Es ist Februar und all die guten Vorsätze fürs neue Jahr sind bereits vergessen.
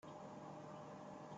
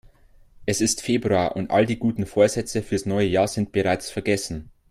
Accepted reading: second